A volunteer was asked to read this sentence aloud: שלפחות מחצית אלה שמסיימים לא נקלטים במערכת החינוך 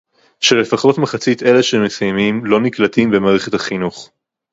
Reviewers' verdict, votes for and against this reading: rejected, 2, 2